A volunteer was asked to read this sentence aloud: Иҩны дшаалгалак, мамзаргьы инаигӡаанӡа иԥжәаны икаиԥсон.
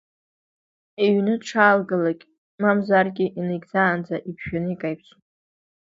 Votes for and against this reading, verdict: 1, 2, rejected